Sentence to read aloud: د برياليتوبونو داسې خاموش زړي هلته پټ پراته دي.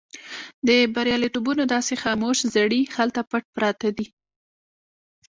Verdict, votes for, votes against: rejected, 1, 2